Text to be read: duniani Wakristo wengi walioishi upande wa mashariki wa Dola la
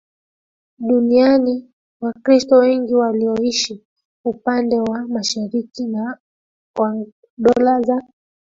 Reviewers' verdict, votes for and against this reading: rejected, 1, 2